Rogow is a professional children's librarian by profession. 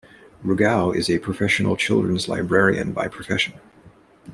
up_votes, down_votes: 2, 0